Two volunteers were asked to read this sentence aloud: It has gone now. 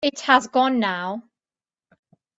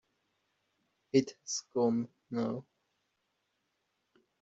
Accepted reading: first